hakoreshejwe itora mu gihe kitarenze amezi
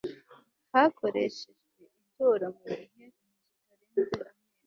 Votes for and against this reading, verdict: 2, 0, accepted